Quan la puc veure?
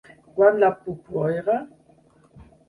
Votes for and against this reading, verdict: 2, 4, rejected